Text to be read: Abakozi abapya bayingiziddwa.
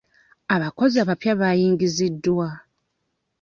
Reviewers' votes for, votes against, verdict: 2, 1, accepted